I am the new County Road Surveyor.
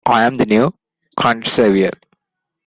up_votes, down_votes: 0, 2